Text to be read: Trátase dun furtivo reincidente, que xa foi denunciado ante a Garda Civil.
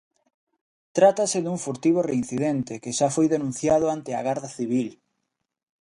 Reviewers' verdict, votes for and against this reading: accepted, 2, 0